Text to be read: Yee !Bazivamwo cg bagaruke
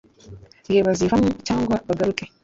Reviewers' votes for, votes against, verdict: 1, 2, rejected